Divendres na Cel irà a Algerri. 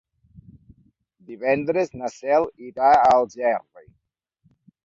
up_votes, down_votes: 2, 0